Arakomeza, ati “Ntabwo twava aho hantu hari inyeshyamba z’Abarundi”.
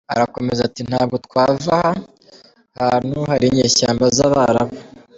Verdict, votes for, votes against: rejected, 1, 2